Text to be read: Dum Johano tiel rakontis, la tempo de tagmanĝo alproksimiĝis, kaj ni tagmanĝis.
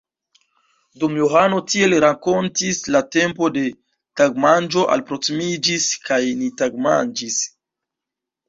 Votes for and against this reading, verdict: 0, 2, rejected